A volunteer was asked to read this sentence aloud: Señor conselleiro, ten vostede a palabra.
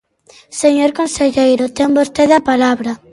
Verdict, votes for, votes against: accepted, 2, 0